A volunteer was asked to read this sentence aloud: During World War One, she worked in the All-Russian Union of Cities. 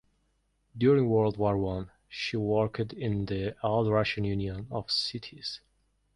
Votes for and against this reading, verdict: 1, 2, rejected